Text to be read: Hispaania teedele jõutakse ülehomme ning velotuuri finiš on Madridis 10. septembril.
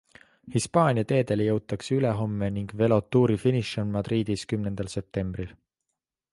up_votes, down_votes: 0, 2